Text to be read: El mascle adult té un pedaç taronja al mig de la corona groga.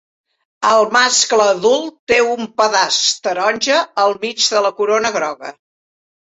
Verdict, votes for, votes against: accepted, 4, 0